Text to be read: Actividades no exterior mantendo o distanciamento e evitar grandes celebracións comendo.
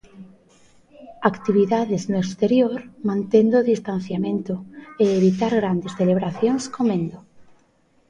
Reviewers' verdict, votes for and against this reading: rejected, 1, 2